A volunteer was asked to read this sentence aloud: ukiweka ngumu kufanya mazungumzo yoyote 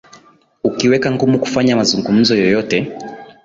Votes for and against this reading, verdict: 8, 1, accepted